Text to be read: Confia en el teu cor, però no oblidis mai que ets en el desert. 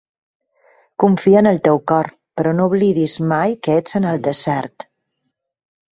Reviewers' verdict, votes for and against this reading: accepted, 3, 0